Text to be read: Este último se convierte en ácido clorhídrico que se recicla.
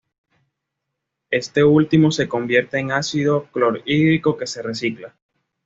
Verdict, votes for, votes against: accepted, 2, 0